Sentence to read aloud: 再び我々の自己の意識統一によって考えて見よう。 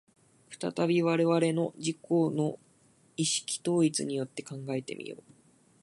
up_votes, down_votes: 3, 0